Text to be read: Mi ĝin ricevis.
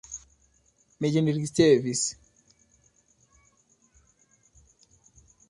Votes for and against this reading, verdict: 2, 0, accepted